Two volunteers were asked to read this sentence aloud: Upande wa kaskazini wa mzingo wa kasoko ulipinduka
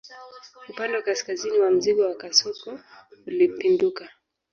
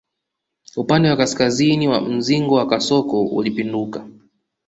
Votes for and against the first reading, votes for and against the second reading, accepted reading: 1, 2, 2, 0, second